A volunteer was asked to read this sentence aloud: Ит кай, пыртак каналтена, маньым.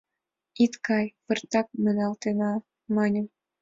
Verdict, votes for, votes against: rejected, 3, 5